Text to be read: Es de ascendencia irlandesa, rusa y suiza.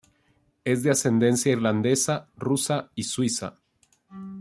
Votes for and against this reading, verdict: 2, 0, accepted